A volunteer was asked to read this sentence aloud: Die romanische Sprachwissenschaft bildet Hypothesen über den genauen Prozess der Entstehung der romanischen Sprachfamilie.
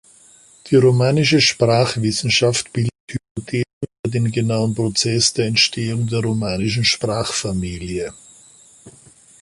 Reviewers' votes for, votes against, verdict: 0, 2, rejected